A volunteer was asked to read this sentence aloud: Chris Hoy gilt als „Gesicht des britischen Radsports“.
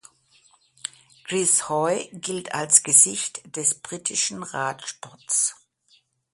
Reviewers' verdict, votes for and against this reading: accepted, 2, 0